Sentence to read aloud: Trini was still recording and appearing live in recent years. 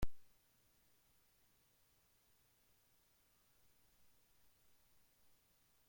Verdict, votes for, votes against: rejected, 0, 2